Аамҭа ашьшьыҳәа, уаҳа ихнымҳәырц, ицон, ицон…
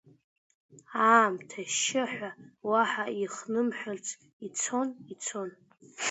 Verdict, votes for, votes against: rejected, 0, 2